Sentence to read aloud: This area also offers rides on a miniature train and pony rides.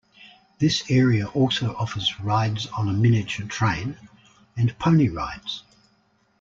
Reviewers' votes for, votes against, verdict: 2, 0, accepted